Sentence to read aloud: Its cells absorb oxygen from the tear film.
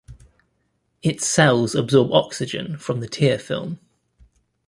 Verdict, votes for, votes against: accepted, 2, 0